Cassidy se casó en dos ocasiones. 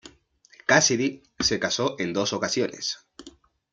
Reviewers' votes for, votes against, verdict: 2, 0, accepted